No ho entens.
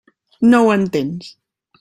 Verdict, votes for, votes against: accepted, 3, 1